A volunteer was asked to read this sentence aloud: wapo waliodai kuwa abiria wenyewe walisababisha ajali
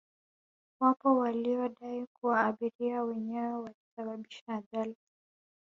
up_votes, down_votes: 3, 1